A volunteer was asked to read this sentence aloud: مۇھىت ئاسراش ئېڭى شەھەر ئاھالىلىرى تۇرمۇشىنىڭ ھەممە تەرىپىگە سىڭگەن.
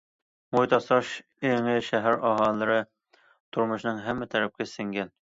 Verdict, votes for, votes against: rejected, 1, 2